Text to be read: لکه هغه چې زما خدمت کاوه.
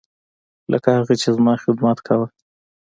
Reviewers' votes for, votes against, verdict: 2, 0, accepted